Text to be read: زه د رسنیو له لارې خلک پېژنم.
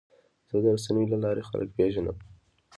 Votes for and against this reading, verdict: 0, 2, rejected